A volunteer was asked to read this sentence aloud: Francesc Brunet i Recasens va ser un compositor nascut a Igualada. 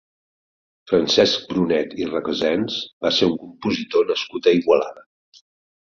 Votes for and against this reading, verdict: 4, 0, accepted